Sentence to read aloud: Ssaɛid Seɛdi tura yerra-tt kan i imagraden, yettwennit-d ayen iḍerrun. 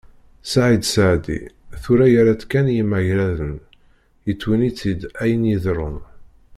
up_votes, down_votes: 1, 2